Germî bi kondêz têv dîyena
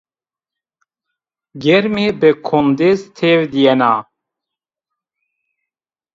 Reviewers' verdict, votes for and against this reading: accepted, 2, 0